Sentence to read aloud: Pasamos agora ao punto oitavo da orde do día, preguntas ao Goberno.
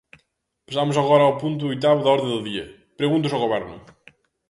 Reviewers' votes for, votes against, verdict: 1, 2, rejected